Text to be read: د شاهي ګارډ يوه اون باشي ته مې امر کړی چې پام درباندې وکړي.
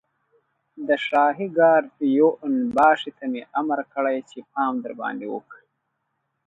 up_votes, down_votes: 2, 1